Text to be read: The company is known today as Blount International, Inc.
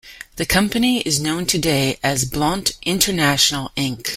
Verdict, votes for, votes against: rejected, 1, 2